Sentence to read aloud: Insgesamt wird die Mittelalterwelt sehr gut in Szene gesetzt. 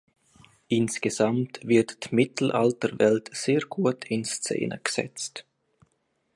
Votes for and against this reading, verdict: 2, 1, accepted